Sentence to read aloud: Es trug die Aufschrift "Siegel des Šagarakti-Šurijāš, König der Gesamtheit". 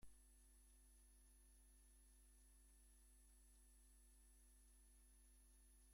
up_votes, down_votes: 0, 2